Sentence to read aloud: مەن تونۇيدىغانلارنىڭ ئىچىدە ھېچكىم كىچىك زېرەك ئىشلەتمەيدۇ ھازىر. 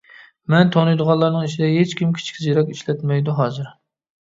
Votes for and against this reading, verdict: 2, 0, accepted